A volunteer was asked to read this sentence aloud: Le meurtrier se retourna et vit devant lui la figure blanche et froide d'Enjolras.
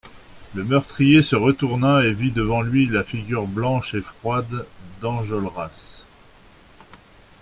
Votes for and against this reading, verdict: 2, 0, accepted